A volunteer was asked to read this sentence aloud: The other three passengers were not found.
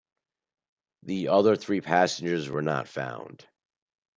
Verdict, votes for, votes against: accepted, 2, 0